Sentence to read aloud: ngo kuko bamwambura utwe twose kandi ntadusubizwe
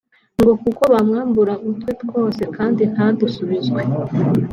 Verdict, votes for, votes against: accepted, 2, 1